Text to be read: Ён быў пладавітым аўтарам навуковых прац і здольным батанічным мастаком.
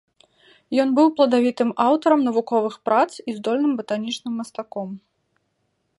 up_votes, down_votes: 2, 0